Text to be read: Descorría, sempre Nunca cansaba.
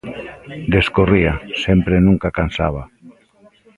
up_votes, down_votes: 2, 0